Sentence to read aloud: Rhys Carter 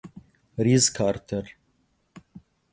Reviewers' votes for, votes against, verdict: 8, 0, accepted